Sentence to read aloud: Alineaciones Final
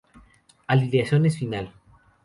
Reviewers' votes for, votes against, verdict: 2, 0, accepted